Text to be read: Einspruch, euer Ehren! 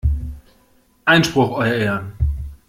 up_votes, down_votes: 2, 0